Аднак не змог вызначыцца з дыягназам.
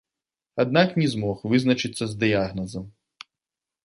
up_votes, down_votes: 2, 0